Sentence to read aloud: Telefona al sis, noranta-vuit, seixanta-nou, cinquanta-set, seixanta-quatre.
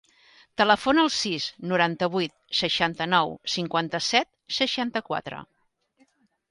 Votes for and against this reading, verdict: 3, 0, accepted